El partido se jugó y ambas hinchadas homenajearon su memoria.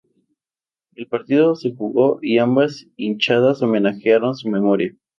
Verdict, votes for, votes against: accepted, 2, 0